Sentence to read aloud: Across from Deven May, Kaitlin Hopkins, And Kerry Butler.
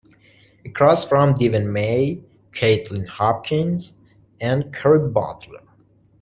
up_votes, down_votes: 2, 0